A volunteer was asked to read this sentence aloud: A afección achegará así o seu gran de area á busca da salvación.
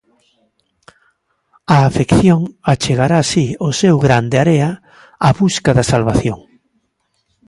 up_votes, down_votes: 2, 0